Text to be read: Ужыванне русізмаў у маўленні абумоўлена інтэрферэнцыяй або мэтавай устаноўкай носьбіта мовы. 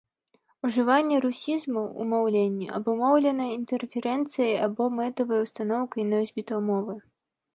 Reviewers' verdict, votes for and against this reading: accepted, 2, 0